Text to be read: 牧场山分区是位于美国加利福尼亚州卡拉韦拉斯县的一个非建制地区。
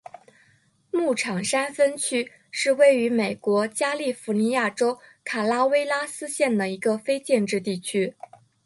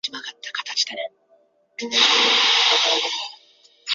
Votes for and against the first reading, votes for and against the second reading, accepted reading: 3, 1, 0, 2, first